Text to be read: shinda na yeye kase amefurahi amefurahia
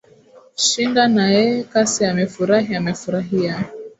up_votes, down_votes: 2, 0